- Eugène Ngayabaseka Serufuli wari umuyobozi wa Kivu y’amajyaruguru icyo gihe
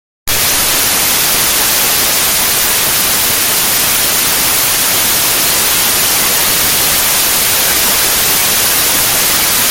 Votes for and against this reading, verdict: 0, 2, rejected